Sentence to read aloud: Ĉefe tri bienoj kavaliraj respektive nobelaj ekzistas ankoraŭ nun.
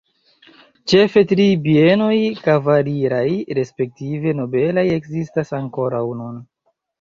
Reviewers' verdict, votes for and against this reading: rejected, 0, 2